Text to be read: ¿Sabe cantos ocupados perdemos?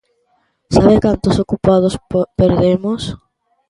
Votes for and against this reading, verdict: 0, 2, rejected